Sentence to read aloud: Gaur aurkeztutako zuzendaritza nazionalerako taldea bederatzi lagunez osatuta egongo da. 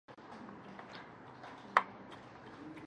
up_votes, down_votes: 0, 2